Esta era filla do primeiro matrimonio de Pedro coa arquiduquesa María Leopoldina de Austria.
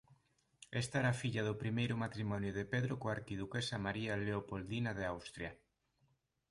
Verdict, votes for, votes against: accepted, 2, 0